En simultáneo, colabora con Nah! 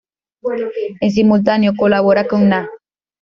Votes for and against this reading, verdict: 1, 2, rejected